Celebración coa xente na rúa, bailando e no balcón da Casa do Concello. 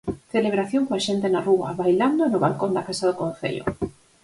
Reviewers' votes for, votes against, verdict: 4, 0, accepted